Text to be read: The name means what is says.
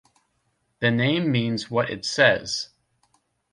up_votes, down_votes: 1, 2